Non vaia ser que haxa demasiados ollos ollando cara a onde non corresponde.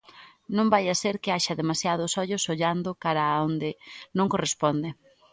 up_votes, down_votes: 2, 0